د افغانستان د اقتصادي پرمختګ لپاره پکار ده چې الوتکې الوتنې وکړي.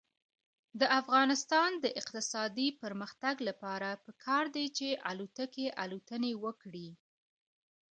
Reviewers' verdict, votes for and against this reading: accepted, 2, 0